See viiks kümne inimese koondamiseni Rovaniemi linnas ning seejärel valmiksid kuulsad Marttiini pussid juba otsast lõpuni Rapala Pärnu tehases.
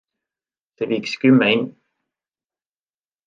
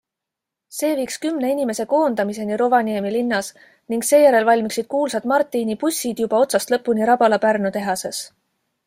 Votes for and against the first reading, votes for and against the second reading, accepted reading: 0, 2, 2, 0, second